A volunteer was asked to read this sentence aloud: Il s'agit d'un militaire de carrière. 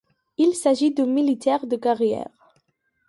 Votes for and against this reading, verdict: 0, 2, rejected